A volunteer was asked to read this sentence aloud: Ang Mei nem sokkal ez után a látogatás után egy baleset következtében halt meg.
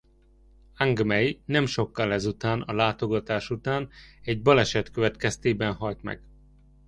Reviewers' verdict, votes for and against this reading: accepted, 2, 0